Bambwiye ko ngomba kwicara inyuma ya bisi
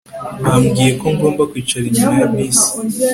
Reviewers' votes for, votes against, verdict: 2, 0, accepted